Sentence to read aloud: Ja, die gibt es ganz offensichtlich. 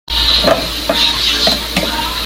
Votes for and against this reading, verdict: 0, 2, rejected